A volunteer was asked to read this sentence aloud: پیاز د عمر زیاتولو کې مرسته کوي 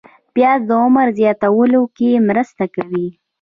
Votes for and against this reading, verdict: 1, 2, rejected